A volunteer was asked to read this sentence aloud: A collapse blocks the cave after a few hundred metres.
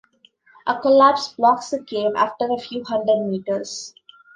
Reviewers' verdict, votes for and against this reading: rejected, 1, 2